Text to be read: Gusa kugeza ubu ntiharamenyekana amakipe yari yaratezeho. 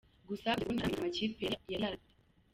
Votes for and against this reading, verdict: 0, 2, rejected